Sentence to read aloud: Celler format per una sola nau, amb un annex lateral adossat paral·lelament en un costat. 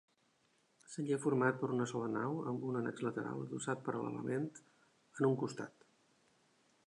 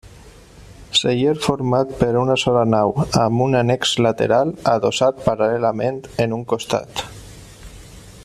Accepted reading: second